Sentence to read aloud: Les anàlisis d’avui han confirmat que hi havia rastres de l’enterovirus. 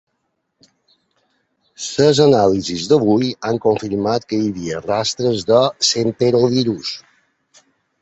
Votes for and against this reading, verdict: 2, 3, rejected